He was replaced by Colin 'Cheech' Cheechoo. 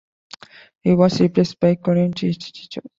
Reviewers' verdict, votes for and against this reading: rejected, 1, 2